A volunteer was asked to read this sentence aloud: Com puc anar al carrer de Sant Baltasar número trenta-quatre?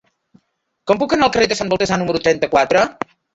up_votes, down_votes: 2, 3